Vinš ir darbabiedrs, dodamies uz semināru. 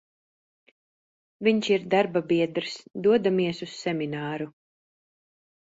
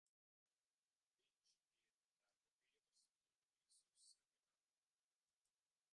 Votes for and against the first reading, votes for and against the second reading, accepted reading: 3, 0, 0, 2, first